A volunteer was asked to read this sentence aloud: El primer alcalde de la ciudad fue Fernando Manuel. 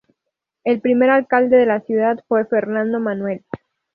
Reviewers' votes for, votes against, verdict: 2, 2, rejected